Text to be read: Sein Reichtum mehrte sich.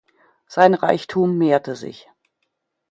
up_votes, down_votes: 2, 0